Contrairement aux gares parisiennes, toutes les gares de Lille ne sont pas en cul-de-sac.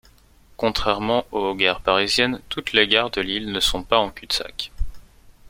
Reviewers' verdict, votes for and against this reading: accepted, 2, 0